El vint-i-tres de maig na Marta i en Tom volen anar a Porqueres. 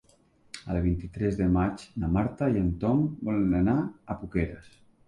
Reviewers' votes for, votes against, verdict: 1, 2, rejected